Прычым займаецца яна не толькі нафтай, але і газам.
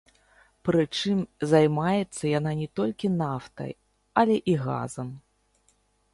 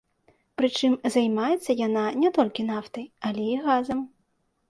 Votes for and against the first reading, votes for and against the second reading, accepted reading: 0, 2, 2, 0, second